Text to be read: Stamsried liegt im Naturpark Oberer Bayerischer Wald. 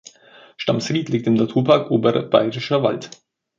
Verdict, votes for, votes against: accepted, 2, 0